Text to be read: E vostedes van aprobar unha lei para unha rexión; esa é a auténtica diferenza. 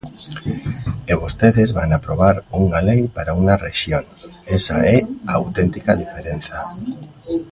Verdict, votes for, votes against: rejected, 1, 2